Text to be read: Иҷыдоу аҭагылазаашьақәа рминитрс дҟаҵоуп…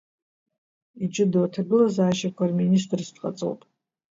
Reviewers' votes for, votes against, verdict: 1, 2, rejected